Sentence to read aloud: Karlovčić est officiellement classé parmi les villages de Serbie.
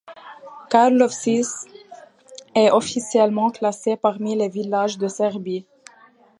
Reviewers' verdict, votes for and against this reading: accepted, 2, 1